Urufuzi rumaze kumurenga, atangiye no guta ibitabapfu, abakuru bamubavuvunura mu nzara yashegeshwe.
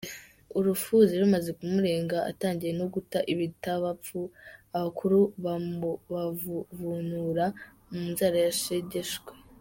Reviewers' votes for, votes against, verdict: 0, 2, rejected